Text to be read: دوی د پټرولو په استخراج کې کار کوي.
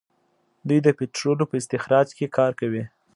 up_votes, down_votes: 2, 0